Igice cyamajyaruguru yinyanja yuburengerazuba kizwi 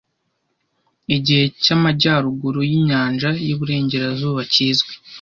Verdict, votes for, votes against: rejected, 1, 2